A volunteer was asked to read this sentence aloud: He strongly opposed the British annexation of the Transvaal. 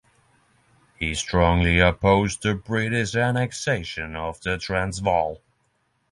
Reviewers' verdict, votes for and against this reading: rejected, 0, 3